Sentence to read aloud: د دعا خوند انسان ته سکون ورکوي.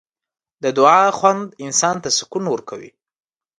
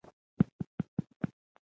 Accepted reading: first